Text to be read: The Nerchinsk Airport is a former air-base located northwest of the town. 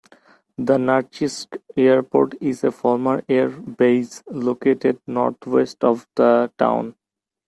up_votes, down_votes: 1, 2